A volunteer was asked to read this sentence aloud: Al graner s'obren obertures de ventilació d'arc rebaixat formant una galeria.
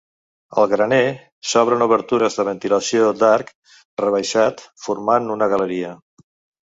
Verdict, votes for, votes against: accepted, 3, 0